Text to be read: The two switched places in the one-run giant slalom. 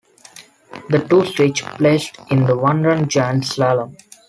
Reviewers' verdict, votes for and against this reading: rejected, 0, 2